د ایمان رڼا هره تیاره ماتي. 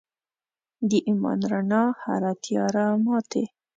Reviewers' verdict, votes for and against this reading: accepted, 3, 1